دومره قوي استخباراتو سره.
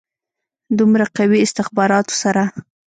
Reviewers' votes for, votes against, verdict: 1, 2, rejected